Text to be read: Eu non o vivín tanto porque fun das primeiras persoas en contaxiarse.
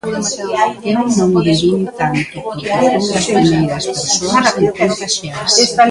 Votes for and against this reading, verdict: 0, 2, rejected